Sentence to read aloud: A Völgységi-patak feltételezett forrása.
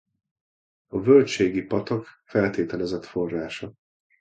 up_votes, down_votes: 2, 0